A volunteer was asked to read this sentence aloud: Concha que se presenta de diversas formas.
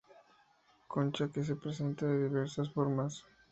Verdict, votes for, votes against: accepted, 2, 0